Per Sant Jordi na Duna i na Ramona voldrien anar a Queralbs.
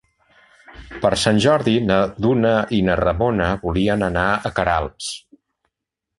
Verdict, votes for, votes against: rejected, 1, 3